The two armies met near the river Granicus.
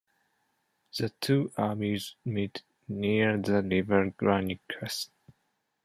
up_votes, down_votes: 2, 0